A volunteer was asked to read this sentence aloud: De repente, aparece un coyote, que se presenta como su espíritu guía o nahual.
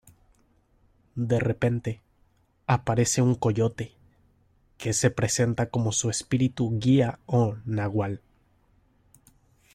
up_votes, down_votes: 2, 0